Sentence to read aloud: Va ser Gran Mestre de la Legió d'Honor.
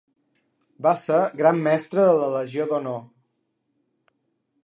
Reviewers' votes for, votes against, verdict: 2, 0, accepted